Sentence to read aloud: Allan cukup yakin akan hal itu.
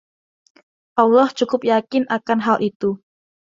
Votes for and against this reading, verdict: 0, 2, rejected